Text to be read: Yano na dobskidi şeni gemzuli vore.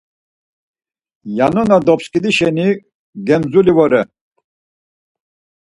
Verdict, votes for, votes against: accepted, 4, 0